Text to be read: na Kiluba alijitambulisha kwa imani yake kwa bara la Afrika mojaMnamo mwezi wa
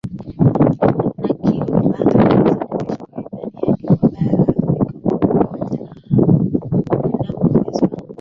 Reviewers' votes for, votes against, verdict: 0, 2, rejected